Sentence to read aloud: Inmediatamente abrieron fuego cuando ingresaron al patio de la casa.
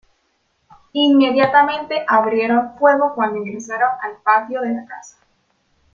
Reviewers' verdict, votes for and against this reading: accepted, 2, 0